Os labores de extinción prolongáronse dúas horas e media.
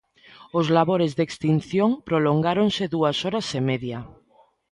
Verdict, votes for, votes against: accepted, 2, 0